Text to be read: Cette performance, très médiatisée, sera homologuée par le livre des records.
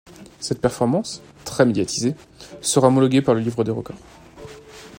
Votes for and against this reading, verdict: 2, 0, accepted